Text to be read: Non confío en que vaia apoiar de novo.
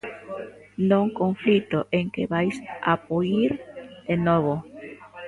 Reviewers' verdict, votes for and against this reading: rejected, 0, 2